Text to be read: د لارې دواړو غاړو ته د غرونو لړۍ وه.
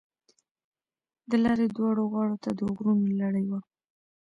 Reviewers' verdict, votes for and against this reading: rejected, 0, 2